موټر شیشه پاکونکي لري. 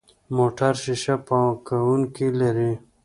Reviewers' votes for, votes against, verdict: 2, 0, accepted